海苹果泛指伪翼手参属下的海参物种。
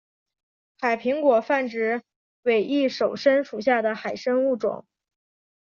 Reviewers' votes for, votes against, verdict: 5, 0, accepted